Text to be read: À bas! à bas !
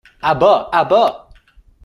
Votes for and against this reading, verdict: 2, 0, accepted